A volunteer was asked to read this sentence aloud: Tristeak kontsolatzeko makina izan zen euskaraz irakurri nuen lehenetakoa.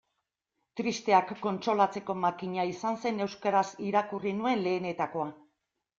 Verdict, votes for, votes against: accepted, 2, 0